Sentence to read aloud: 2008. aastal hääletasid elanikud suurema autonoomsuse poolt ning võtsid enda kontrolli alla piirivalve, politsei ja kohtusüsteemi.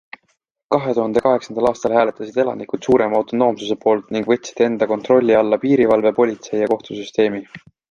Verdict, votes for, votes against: rejected, 0, 2